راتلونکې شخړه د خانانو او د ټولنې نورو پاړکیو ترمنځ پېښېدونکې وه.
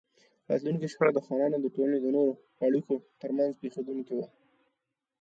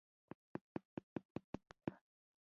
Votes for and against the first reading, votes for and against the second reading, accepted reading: 2, 0, 0, 2, first